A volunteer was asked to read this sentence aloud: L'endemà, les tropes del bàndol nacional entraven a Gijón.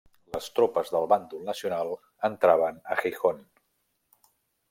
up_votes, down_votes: 0, 2